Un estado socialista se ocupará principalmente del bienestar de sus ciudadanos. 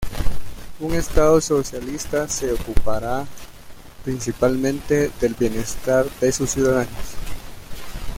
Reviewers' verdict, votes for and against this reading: rejected, 0, 2